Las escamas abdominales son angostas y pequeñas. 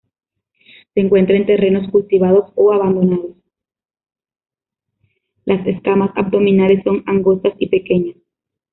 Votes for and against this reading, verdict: 0, 3, rejected